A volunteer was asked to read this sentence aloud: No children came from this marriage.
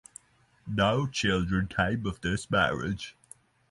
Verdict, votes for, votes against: rejected, 3, 3